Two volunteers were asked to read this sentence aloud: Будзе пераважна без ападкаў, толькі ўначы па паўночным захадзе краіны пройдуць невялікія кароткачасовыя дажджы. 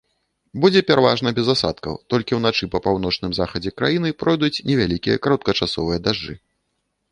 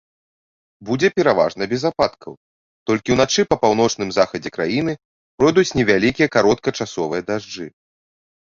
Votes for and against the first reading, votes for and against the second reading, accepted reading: 0, 2, 2, 0, second